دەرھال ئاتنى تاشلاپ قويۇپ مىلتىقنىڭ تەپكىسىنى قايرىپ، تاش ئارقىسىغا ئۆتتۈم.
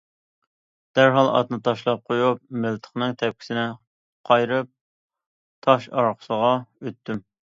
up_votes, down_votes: 2, 0